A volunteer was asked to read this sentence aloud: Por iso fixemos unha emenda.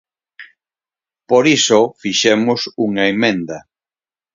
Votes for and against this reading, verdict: 4, 0, accepted